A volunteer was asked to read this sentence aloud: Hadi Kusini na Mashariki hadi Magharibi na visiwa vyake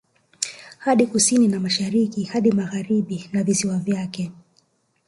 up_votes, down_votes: 2, 1